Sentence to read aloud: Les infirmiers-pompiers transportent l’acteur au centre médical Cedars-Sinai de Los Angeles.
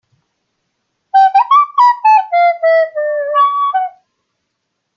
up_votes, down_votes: 0, 2